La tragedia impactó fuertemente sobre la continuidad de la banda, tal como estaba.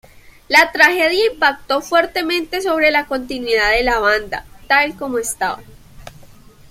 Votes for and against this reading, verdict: 2, 0, accepted